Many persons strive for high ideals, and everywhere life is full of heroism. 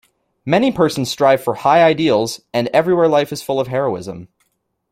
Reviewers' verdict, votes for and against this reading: accepted, 2, 1